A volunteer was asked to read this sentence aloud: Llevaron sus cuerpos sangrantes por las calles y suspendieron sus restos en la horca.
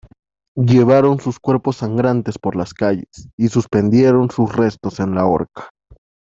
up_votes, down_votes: 2, 1